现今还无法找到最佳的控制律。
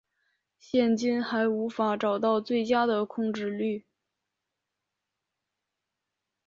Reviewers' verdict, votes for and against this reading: accepted, 2, 0